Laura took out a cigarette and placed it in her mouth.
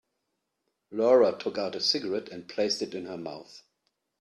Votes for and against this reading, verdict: 2, 0, accepted